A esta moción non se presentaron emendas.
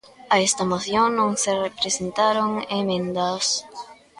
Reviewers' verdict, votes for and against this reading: rejected, 0, 2